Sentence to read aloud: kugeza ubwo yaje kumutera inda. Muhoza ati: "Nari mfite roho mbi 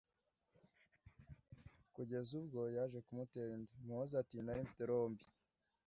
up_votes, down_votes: 1, 2